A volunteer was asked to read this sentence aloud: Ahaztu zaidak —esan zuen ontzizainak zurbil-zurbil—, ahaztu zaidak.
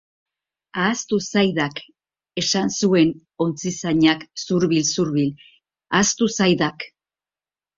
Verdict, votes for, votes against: accepted, 2, 0